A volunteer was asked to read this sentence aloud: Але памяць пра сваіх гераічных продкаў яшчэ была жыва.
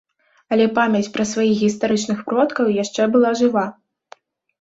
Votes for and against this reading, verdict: 0, 2, rejected